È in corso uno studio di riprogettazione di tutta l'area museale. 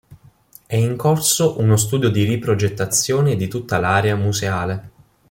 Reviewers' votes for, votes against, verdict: 2, 0, accepted